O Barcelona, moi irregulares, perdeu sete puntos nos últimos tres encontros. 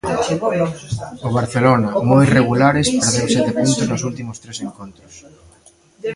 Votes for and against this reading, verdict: 0, 2, rejected